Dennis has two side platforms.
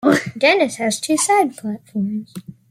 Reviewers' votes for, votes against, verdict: 2, 1, accepted